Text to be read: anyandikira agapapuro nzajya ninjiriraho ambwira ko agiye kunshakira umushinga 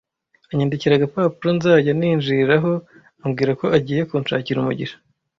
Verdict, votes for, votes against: rejected, 1, 2